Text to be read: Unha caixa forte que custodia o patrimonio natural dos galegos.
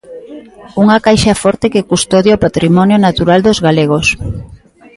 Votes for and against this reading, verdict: 1, 2, rejected